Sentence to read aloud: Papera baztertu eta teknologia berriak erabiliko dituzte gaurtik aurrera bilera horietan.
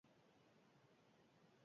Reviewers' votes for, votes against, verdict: 0, 4, rejected